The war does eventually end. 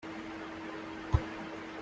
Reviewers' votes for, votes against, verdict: 0, 2, rejected